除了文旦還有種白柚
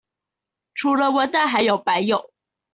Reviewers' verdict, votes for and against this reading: rejected, 1, 2